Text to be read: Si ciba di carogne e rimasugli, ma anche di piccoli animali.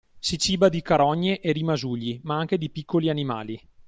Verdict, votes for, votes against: accepted, 2, 0